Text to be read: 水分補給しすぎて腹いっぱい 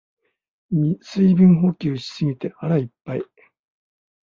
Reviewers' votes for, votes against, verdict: 2, 1, accepted